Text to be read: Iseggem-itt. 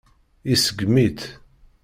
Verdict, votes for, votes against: rejected, 1, 2